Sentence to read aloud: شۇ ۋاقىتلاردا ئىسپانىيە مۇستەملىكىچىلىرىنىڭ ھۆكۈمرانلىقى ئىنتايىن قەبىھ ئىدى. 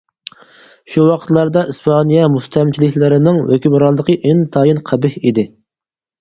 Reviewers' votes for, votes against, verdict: 2, 4, rejected